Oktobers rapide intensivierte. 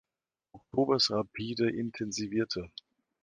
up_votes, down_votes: 1, 2